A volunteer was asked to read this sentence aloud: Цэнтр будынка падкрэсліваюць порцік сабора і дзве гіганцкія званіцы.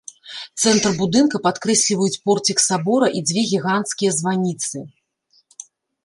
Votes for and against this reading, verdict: 1, 2, rejected